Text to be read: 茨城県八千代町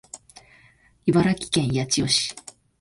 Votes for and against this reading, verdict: 1, 3, rejected